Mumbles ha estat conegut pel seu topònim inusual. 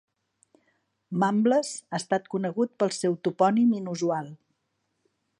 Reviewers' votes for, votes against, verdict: 2, 0, accepted